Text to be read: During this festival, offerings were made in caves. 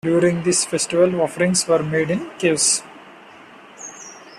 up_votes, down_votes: 2, 0